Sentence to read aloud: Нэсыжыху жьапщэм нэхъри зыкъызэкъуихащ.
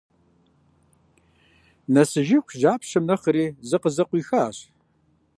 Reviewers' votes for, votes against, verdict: 2, 0, accepted